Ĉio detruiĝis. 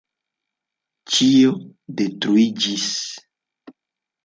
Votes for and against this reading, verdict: 2, 0, accepted